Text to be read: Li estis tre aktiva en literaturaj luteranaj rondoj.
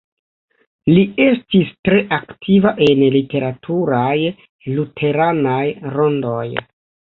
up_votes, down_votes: 2, 0